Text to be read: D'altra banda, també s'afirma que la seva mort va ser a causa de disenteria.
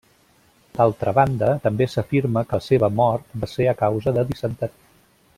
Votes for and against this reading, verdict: 1, 2, rejected